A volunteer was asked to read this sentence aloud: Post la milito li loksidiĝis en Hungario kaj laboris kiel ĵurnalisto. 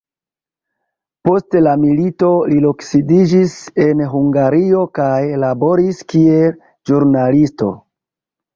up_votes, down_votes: 1, 2